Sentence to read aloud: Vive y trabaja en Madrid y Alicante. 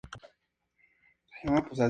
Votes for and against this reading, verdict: 2, 0, accepted